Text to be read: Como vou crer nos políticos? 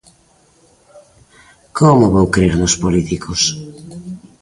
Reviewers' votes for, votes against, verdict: 2, 0, accepted